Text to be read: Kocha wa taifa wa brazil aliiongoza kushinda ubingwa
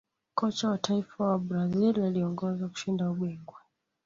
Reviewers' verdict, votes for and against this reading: rejected, 1, 2